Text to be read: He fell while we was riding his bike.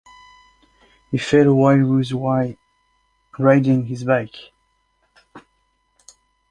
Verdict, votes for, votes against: rejected, 0, 2